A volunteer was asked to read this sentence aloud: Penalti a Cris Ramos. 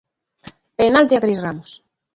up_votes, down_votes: 2, 0